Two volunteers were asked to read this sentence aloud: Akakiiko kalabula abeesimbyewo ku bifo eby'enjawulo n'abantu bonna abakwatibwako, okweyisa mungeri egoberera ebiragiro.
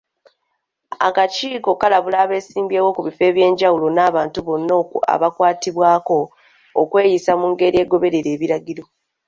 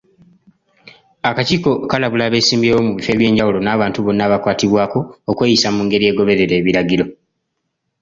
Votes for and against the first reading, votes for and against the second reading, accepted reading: 2, 0, 1, 2, first